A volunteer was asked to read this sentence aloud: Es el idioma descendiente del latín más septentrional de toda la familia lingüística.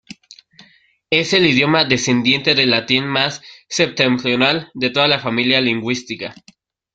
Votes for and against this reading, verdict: 1, 2, rejected